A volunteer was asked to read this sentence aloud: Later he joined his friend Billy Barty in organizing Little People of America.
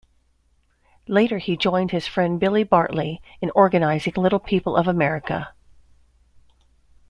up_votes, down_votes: 1, 2